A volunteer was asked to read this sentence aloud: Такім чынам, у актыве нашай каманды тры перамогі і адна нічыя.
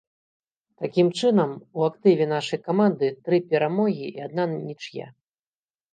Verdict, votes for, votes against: accepted, 2, 1